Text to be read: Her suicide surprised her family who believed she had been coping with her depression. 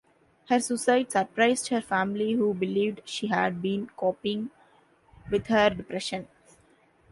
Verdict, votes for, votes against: accepted, 2, 0